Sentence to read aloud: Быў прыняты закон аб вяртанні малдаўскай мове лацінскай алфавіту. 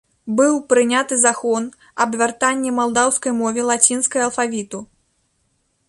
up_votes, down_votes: 0, 2